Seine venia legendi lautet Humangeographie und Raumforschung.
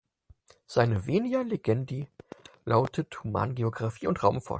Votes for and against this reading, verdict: 0, 4, rejected